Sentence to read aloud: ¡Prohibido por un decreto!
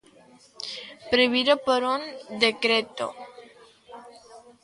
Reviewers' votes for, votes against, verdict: 2, 0, accepted